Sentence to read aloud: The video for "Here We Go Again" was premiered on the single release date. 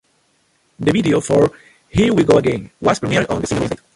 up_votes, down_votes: 0, 2